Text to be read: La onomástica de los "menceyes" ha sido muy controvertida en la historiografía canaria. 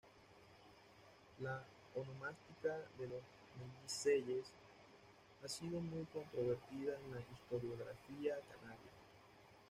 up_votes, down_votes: 1, 2